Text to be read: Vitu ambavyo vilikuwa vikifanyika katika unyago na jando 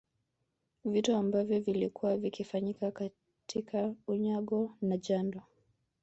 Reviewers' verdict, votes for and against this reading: accepted, 2, 1